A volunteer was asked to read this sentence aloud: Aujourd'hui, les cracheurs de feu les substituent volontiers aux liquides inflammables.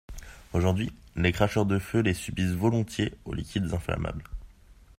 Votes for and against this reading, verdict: 1, 2, rejected